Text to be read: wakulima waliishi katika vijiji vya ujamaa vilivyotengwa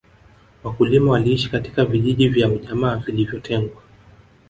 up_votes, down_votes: 3, 2